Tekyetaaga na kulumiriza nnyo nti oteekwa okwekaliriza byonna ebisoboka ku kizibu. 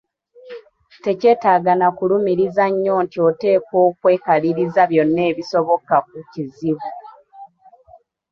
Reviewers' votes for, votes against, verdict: 2, 0, accepted